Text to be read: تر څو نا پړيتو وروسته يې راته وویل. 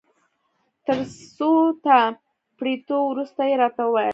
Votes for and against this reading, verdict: 2, 1, accepted